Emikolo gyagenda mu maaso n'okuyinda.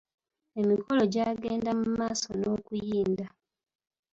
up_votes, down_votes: 0, 2